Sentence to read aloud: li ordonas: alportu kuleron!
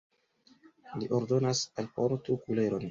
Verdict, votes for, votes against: accepted, 2, 0